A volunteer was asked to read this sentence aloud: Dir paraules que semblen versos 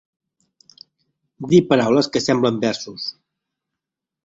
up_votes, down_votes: 2, 0